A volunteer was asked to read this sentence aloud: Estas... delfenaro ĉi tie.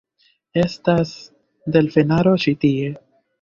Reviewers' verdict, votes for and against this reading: accepted, 2, 1